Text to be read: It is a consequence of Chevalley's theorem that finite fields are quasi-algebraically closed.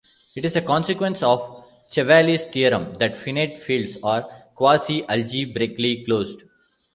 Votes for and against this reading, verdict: 1, 2, rejected